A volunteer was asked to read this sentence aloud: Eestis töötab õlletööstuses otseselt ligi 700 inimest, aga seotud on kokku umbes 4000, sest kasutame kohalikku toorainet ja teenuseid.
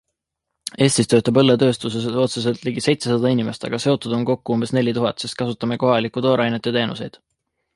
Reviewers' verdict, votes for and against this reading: rejected, 0, 2